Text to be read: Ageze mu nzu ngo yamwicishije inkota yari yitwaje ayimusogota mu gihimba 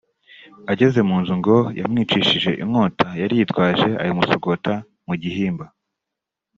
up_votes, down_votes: 3, 0